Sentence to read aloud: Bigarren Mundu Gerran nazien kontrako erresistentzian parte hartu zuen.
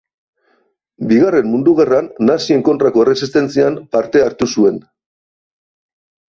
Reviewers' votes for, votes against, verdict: 2, 0, accepted